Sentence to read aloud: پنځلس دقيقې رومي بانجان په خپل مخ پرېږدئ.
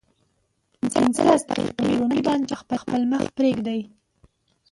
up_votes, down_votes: 0, 2